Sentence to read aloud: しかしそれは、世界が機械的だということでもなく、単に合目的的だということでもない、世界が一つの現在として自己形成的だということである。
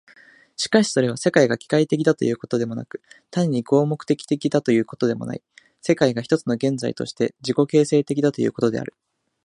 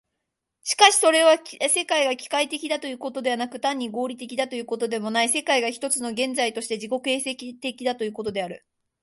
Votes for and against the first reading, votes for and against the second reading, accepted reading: 2, 0, 0, 2, first